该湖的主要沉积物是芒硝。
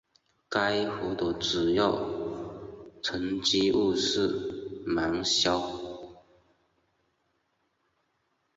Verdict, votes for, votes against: accepted, 2, 0